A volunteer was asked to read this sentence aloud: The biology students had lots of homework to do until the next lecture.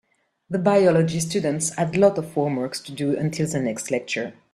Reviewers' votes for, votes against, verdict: 0, 3, rejected